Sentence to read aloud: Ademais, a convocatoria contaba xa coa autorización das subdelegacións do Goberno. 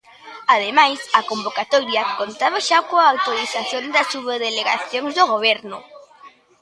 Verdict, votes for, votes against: rejected, 1, 2